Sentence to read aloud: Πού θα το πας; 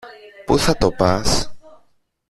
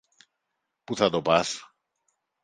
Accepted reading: second